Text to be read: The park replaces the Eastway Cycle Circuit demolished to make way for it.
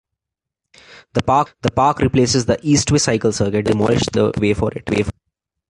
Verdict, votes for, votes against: rejected, 1, 2